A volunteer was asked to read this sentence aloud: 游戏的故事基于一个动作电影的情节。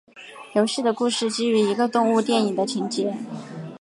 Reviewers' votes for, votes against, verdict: 0, 2, rejected